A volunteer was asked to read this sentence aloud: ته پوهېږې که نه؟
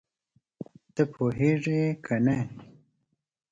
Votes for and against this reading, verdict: 2, 0, accepted